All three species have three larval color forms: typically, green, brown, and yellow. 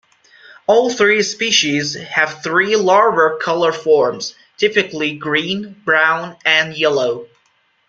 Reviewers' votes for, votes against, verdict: 0, 2, rejected